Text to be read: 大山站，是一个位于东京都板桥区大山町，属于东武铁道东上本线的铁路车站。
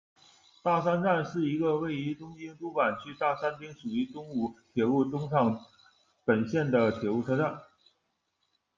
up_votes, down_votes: 1, 2